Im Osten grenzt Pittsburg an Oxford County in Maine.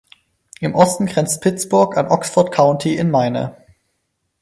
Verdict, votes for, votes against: rejected, 2, 4